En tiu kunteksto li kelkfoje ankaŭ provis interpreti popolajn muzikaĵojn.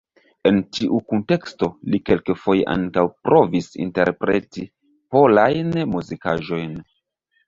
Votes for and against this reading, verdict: 0, 2, rejected